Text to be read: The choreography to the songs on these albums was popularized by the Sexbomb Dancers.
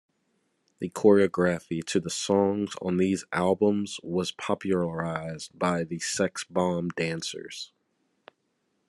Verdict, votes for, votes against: accepted, 2, 0